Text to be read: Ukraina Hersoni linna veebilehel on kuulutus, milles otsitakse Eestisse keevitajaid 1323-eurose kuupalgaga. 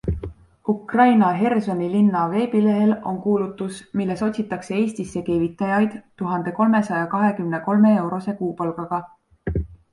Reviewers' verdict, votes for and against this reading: rejected, 0, 2